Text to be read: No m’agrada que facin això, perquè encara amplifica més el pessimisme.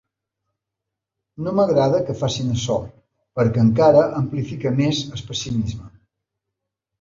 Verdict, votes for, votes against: rejected, 1, 2